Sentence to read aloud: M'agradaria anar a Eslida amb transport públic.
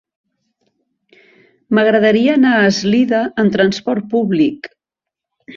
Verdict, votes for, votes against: accepted, 2, 0